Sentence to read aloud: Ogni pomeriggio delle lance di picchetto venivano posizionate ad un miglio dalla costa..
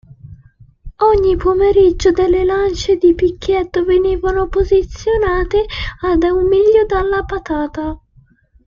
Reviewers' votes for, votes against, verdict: 0, 2, rejected